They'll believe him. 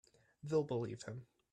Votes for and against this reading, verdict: 1, 2, rejected